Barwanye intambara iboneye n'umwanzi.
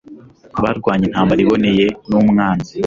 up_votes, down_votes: 2, 0